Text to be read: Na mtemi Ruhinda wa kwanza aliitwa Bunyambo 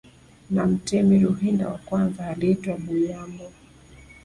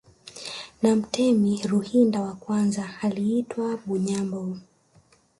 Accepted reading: second